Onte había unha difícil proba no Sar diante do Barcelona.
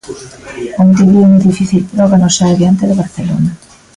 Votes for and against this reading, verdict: 1, 2, rejected